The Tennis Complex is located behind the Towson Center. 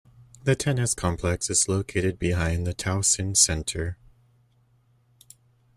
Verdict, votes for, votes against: accepted, 2, 0